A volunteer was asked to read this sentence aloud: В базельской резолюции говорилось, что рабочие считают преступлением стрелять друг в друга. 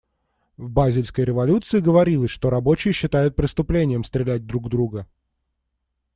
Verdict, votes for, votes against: rejected, 1, 2